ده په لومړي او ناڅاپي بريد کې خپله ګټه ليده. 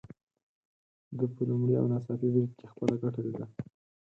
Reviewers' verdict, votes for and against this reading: rejected, 0, 4